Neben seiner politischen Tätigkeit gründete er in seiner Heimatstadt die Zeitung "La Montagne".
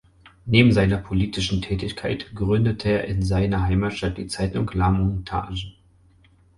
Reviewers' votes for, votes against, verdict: 4, 2, accepted